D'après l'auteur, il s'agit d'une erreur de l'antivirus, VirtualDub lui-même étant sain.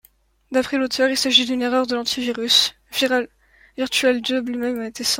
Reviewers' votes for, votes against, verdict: 0, 2, rejected